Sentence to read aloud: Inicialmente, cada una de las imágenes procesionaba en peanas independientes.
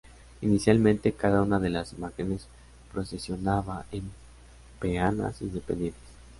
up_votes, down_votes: 2, 0